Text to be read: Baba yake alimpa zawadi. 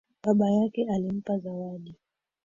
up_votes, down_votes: 2, 3